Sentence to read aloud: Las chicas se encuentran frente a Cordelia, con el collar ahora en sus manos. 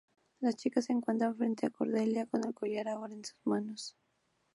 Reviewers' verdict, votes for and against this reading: accepted, 2, 0